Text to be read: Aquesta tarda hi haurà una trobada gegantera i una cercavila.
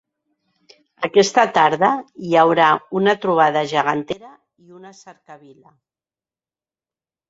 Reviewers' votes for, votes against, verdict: 0, 2, rejected